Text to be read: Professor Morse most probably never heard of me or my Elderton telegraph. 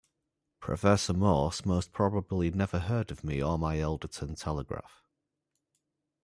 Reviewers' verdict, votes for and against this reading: rejected, 1, 2